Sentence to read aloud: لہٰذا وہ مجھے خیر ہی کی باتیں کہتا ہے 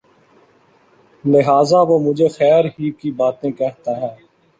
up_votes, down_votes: 2, 0